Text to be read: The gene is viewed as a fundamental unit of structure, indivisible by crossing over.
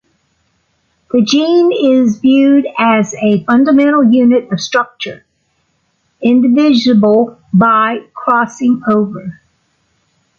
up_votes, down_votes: 2, 0